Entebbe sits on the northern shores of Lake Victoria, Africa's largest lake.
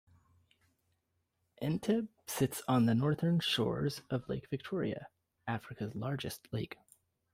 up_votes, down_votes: 1, 2